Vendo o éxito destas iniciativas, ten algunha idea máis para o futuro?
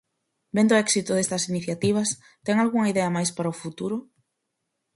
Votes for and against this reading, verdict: 4, 0, accepted